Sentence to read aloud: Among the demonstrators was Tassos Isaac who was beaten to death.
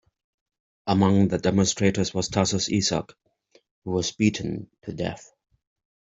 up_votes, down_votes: 0, 2